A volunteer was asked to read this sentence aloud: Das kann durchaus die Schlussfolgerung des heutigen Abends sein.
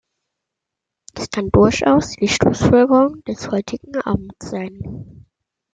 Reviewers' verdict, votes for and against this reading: accepted, 2, 0